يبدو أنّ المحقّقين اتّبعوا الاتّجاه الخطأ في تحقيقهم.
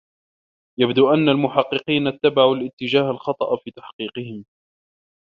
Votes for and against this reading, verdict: 0, 2, rejected